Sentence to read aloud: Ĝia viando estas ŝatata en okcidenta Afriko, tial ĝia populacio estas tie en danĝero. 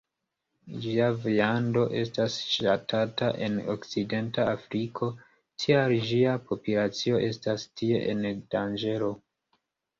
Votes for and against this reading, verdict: 1, 2, rejected